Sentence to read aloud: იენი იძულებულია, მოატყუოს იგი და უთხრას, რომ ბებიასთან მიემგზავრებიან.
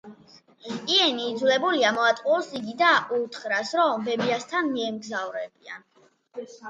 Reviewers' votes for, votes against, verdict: 2, 0, accepted